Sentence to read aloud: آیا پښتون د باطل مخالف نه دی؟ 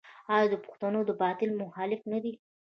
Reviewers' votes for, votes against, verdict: 2, 1, accepted